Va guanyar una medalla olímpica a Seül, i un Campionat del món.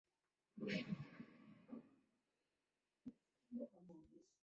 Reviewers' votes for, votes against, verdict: 0, 2, rejected